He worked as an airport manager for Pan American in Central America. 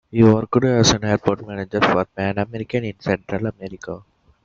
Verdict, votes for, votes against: rejected, 0, 2